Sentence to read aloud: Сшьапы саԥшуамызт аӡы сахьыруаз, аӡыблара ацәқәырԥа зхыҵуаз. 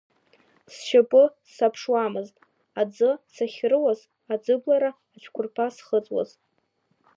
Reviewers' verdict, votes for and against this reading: accepted, 3, 0